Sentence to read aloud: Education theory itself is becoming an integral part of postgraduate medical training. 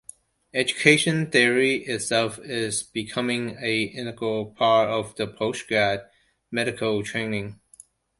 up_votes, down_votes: 1, 2